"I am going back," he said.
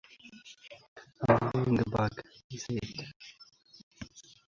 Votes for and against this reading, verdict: 0, 2, rejected